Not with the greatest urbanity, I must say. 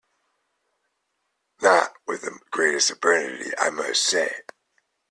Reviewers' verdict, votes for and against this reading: accepted, 2, 1